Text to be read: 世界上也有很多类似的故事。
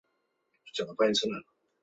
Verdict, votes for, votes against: rejected, 2, 5